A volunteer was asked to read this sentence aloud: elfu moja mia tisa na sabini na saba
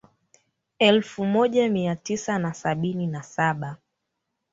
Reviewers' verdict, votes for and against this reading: accepted, 2, 1